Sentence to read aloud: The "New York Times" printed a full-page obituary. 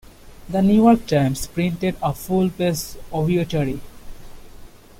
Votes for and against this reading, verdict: 0, 2, rejected